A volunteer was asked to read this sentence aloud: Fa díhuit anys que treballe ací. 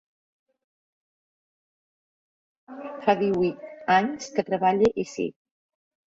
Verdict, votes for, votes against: accepted, 2, 1